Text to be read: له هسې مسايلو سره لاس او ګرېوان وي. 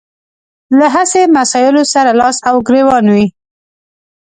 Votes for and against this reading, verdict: 2, 0, accepted